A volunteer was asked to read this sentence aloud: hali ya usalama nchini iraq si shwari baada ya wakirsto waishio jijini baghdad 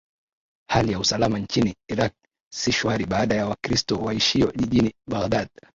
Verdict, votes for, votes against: rejected, 0, 2